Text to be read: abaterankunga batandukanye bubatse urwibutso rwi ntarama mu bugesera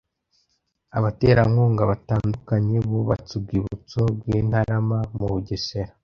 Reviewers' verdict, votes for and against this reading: accepted, 2, 0